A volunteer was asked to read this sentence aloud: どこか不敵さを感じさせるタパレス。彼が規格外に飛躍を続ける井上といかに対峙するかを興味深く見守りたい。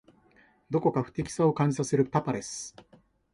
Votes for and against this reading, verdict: 0, 2, rejected